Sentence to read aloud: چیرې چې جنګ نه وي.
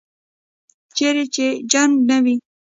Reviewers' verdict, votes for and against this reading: rejected, 1, 2